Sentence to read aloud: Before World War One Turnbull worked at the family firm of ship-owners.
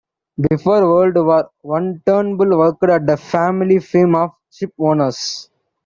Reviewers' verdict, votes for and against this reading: rejected, 1, 2